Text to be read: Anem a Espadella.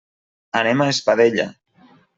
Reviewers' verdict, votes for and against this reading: accepted, 3, 0